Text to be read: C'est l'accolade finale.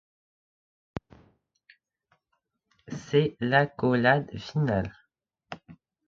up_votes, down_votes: 2, 0